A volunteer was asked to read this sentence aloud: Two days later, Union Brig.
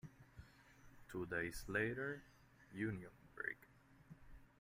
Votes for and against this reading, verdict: 1, 2, rejected